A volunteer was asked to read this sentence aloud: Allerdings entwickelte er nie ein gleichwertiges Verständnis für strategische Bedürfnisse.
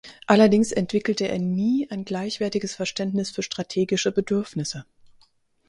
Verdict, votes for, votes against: accepted, 4, 0